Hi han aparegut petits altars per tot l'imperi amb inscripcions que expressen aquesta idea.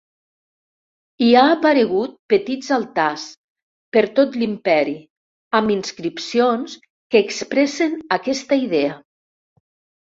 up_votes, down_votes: 2, 3